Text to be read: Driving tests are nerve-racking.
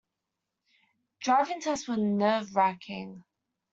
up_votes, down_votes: 2, 0